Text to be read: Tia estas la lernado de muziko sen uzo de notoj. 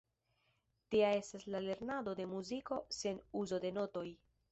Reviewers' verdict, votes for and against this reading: rejected, 0, 2